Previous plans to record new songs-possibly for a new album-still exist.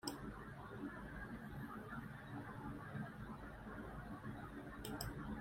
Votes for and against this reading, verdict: 0, 2, rejected